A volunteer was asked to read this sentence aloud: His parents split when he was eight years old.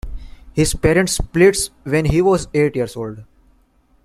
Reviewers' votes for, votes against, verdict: 0, 2, rejected